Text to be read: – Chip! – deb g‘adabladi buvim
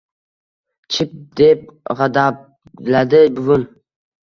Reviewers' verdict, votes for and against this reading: rejected, 0, 2